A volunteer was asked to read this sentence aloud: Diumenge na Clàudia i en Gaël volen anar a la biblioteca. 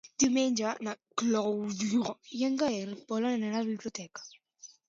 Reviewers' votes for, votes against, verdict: 0, 2, rejected